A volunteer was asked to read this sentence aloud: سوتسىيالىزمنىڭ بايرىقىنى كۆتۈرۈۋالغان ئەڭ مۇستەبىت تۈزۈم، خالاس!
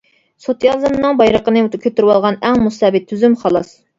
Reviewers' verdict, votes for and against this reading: rejected, 0, 2